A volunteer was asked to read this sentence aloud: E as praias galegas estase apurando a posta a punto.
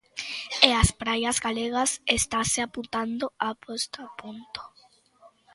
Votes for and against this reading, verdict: 0, 3, rejected